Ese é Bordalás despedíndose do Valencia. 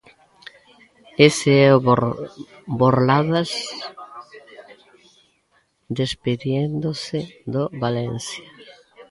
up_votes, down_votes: 0, 2